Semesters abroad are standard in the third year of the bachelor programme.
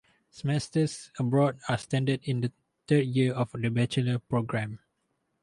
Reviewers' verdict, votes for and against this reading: rejected, 2, 2